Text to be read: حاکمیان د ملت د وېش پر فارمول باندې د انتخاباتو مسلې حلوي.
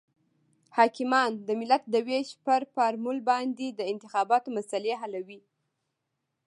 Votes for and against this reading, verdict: 1, 2, rejected